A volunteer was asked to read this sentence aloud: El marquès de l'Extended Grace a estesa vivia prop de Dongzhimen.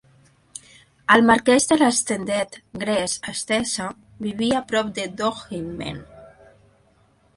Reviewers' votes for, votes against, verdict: 2, 0, accepted